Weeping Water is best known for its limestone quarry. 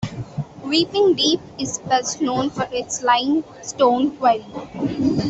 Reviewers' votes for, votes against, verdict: 0, 2, rejected